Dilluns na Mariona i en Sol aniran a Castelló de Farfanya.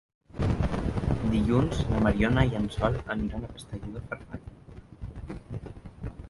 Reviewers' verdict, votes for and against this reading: rejected, 1, 2